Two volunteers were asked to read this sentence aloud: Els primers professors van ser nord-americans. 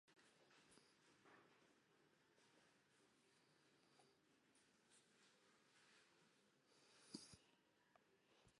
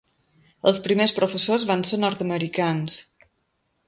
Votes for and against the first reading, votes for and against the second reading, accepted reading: 0, 2, 3, 0, second